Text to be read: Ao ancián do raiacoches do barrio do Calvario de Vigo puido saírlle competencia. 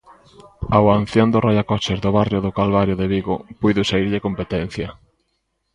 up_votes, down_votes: 0, 2